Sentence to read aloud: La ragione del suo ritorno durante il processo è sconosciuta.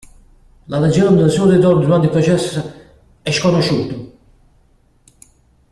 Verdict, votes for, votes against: rejected, 1, 2